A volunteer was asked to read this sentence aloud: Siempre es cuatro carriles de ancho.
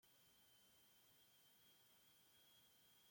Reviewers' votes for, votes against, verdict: 0, 2, rejected